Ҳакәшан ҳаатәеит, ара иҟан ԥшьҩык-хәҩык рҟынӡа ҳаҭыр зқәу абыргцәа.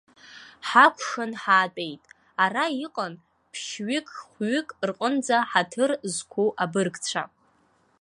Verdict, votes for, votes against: accepted, 2, 0